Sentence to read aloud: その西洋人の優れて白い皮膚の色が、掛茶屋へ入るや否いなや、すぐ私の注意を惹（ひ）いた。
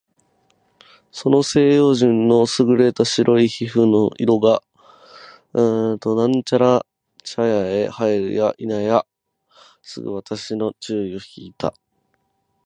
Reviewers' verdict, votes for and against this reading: rejected, 0, 6